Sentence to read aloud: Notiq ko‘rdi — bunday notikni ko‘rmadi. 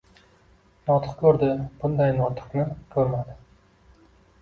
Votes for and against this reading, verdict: 2, 1, accepted